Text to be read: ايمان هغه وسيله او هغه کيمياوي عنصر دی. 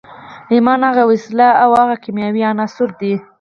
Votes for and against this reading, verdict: 4, 0, accepted